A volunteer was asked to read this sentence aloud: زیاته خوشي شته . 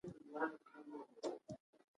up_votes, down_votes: 1, 2